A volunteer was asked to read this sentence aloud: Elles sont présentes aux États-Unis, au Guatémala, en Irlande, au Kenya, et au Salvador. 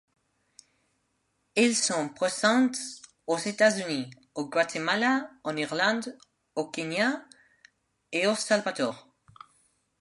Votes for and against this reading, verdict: 0, 2, rejected